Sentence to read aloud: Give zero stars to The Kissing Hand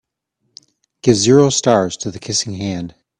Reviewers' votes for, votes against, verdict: 2, 0, accepted